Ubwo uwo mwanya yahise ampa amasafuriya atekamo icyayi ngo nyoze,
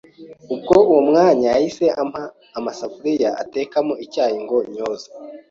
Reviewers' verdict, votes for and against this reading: accepted, 3, 0